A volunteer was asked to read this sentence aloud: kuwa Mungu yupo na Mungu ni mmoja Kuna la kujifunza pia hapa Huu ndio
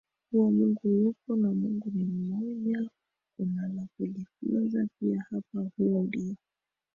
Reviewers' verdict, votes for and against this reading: rejected, 1, 2